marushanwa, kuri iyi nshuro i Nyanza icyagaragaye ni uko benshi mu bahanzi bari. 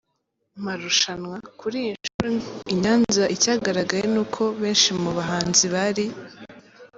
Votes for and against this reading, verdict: 1, 2, rejected